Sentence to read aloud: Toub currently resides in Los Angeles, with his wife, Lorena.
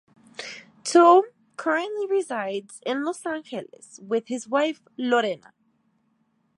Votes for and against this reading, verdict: 2, 0, accepted